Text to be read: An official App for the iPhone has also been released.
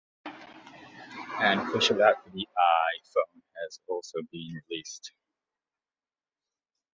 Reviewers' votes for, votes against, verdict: 1, 2, rejected